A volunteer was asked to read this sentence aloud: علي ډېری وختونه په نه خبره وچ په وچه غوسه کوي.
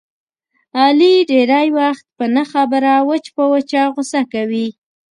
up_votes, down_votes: 2, 0